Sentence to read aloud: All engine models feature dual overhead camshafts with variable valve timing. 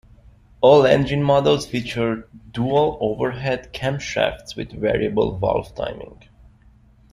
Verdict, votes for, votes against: accepted, 2, 0